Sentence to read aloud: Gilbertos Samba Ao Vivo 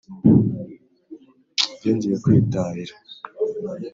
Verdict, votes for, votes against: rejected, 2, 4